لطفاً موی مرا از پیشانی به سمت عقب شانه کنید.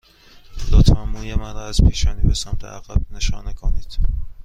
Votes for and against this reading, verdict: 1, 2, rejected